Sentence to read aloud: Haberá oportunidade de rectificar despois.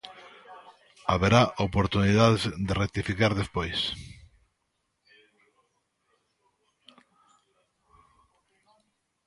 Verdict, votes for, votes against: rejected, 1, 2